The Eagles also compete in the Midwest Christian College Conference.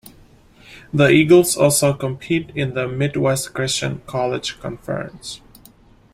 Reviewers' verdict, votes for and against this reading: accepted, 2, 1